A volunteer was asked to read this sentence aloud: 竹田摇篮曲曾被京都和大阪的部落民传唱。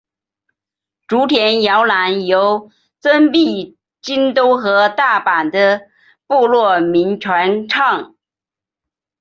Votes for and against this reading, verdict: 0, 2, rejected